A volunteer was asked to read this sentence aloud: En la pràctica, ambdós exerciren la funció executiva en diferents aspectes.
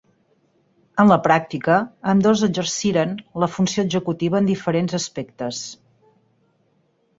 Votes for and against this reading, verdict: 4, 0, accepted